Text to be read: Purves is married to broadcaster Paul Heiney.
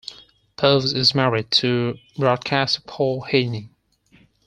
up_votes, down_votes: 2, 4